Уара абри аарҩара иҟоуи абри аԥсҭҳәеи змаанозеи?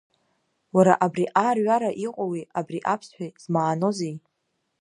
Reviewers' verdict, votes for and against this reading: accepted, 2, 0